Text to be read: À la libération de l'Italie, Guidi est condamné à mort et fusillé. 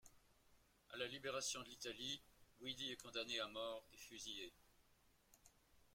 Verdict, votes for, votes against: rejected, 2, 3